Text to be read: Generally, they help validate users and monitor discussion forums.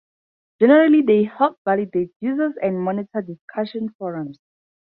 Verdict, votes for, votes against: accepted, 2, 0